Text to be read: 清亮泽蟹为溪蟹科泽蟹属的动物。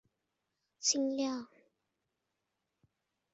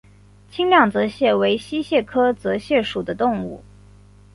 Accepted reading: second